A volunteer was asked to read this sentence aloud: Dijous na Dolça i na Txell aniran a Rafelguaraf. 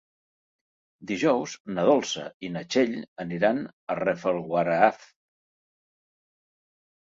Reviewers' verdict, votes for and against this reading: rejected, 1, 3